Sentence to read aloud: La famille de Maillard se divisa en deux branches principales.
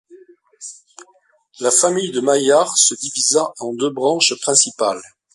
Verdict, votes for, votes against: accepted, 2, 0